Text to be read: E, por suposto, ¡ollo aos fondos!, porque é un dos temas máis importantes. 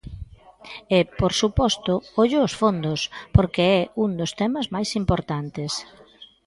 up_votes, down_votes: 1, 2